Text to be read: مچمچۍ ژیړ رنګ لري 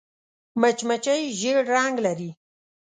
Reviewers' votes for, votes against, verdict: 2, 0, accepted